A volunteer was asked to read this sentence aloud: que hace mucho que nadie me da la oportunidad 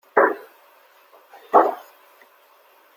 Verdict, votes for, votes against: rejected, 0, 2